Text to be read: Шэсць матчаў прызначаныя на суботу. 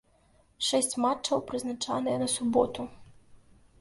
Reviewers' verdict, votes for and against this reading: rejected, 1, 2